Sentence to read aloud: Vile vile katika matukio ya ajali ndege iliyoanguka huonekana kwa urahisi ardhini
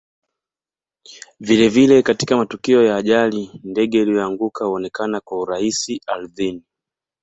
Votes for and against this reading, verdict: 2, 1, accepted